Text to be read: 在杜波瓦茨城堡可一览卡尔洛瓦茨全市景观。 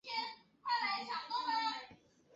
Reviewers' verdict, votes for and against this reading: rejected, 2, 6